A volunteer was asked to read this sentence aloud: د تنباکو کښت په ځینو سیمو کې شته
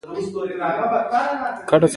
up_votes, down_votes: 2, 1